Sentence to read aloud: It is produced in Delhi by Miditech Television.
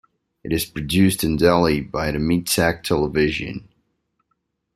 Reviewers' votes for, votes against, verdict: 2, 1, accepted